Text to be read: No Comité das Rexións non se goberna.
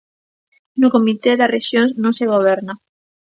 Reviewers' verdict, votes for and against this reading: accepted, 2, 0